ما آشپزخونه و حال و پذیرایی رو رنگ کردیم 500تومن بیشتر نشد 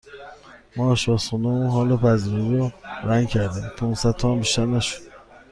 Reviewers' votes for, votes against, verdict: 0, 2, rejected